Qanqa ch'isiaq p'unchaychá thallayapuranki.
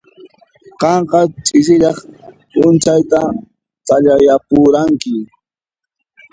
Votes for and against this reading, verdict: 0, 2, rejected